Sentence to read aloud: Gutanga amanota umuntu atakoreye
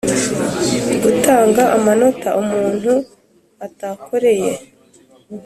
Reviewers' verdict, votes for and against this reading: accepted, 2, 0